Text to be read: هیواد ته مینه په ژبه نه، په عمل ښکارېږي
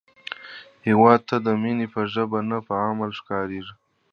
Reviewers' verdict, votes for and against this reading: accepted, 2, 1